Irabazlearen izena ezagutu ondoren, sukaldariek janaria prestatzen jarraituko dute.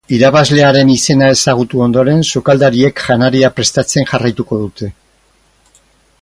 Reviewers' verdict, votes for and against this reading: accepted, 4, 0